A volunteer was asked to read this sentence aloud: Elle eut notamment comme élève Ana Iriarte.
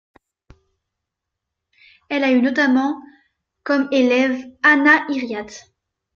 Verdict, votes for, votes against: rejected, 0, 2